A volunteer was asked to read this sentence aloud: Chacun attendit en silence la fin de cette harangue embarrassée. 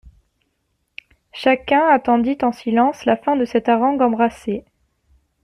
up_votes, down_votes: 0, 2